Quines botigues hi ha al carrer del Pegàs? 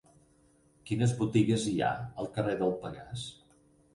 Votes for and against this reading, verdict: 4, 0, accepted